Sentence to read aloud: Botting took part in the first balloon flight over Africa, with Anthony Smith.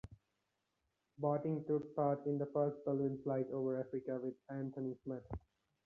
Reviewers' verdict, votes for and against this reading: accepted, 2, 0